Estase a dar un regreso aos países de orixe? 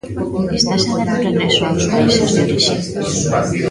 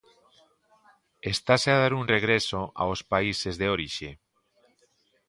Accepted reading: second